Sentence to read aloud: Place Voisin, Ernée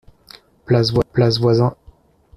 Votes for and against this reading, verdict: 0, 2, rejected